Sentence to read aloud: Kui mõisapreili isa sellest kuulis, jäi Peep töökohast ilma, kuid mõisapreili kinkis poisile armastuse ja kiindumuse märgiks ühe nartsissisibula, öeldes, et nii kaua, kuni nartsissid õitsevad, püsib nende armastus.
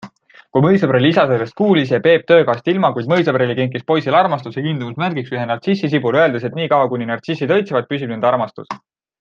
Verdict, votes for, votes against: accepted, 2, 0